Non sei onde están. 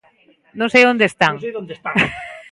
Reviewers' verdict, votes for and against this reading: rejected, 0, 2